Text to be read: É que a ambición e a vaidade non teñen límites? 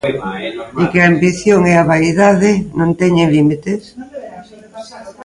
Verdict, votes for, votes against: rejected, 0, 2